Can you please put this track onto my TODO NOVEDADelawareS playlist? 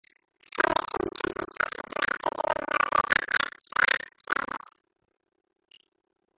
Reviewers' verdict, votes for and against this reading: rejected, 0, 2